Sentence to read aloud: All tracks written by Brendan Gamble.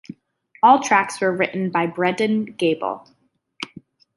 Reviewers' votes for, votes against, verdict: 0, 2, rejected